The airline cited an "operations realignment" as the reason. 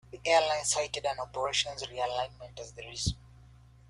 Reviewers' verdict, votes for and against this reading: rejected, 0, 2